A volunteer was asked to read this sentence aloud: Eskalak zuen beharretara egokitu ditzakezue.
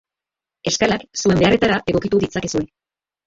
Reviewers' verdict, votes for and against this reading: accepted, 3, 1